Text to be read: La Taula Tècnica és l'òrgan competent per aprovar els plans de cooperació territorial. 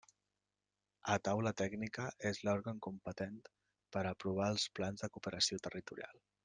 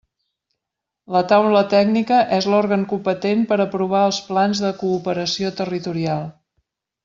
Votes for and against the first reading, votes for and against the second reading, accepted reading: 1, 2, 3, 0, second